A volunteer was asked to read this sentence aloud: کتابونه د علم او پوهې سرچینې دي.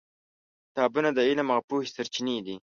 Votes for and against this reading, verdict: 2, 0, accepted